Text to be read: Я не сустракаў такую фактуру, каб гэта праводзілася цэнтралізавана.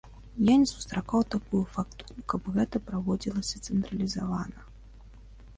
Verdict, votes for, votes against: rejected, 1, 3